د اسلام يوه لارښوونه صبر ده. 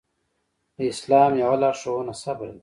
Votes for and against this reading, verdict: 2, 0, accepted